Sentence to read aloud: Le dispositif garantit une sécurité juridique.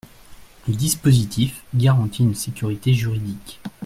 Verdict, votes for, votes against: accepted, 2, 0